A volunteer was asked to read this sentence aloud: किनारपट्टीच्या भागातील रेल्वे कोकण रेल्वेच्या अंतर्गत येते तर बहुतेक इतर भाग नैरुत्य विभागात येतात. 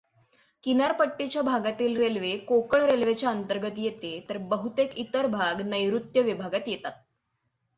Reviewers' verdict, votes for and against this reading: accepted, 6, 0